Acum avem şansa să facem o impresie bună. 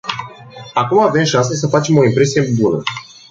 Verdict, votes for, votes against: rejected, 0, 2